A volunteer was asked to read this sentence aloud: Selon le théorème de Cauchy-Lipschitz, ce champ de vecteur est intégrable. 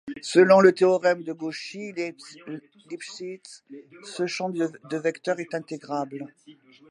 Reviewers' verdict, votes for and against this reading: accepted, 2, 1